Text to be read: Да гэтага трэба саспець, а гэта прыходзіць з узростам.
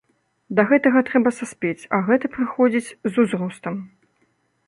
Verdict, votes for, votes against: accepted, 2, 0